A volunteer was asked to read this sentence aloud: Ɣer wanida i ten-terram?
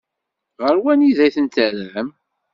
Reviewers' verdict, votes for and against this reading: accepted, 2, 0